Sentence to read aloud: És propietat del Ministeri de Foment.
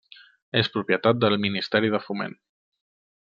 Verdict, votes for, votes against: accepted, 3, 0